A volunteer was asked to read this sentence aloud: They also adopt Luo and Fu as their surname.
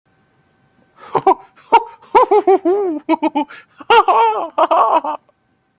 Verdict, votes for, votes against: rejected, 0, 2